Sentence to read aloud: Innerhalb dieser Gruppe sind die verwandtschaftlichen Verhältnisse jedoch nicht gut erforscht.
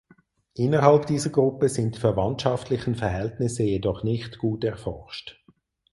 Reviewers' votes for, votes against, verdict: 0, 4, rejected